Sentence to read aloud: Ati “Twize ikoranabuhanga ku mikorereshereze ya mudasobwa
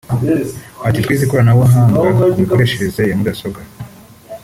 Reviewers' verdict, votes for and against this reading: rejected, 0, 2